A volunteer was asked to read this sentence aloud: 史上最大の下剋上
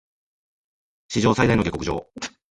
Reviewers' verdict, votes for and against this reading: rejected, 2, 3